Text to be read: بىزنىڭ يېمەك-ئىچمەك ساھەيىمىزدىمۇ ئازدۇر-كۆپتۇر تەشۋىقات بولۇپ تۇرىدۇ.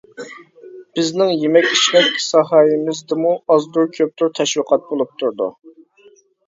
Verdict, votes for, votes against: rejected, 1, 2